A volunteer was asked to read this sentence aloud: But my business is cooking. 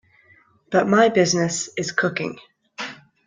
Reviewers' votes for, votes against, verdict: 2, 0, accepted